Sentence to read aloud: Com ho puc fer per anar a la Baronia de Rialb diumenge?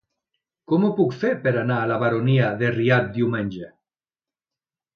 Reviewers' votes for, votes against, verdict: 2, 0, accepted